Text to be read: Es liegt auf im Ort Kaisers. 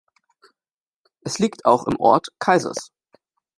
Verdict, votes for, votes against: rejected, 0, 2